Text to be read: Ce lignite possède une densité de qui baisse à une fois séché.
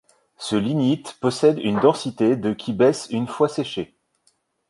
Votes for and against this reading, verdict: 1, 2, rejected